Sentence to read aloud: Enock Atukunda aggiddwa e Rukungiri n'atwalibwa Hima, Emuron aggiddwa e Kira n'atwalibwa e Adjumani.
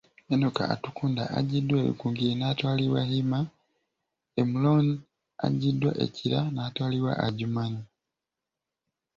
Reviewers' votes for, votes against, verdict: 2, 1, accepted